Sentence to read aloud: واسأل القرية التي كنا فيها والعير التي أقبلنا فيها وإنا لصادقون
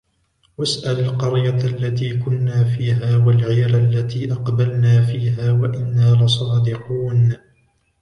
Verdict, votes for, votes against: rejected, 1, 2